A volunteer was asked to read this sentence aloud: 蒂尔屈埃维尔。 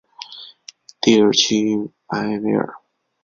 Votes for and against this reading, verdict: 3, 0, accepted